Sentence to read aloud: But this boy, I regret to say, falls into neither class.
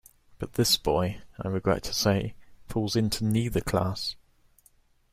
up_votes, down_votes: 2, 1